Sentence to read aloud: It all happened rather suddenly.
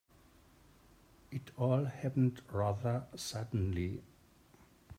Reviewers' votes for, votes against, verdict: 2, 0, accepted